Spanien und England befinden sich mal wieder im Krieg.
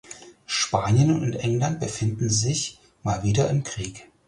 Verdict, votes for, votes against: accepted, 4, 0